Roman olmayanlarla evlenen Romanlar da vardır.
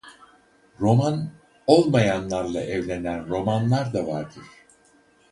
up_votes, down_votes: 0, 4